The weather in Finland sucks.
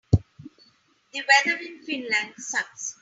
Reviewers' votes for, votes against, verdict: 3, 0, accepted